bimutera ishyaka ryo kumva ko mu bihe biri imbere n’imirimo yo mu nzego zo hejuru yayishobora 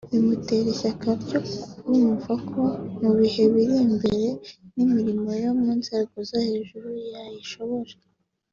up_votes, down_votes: 2, 0